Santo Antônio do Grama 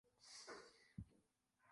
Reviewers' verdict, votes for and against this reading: rejected, 0, 3